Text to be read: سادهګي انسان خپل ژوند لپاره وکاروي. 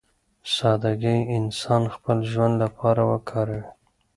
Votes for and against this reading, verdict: 2, 0, accepted